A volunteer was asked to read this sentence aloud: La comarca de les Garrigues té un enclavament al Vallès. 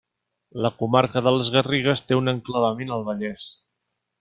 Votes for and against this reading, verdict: 3, 0, accepted